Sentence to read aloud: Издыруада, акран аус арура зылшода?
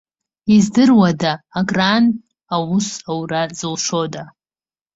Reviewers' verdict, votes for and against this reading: accepted, 2, 1